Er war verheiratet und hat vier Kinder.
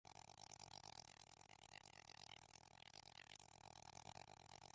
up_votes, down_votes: 0, 3